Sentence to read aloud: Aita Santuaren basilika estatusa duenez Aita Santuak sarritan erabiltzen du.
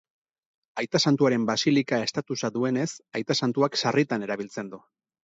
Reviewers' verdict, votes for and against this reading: accepted, 4, 0